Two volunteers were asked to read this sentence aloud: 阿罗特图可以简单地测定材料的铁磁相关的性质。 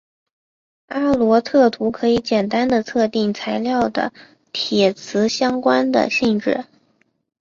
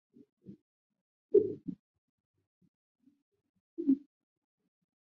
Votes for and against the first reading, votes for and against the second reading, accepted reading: 2, 0, 0, 4, first